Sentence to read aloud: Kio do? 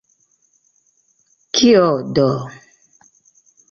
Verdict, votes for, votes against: rejected, 1, 2